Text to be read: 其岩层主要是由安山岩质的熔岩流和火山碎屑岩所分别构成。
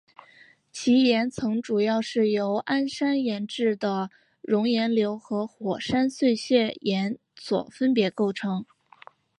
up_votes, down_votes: 2, 0